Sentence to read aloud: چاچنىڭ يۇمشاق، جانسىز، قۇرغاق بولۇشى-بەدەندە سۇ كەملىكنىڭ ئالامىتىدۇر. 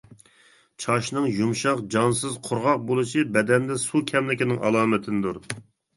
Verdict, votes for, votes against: rejected, 0, 2